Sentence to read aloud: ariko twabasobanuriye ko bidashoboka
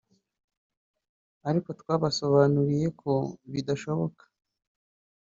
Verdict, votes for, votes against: rejected, 1, 2